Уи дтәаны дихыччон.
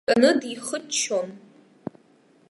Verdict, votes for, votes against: rejected, 0, 2